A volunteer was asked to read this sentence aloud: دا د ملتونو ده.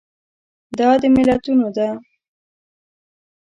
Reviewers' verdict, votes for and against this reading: accepted, 2, 0